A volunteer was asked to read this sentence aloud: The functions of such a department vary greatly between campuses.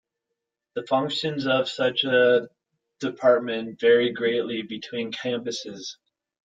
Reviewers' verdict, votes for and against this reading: accepted, 2, 0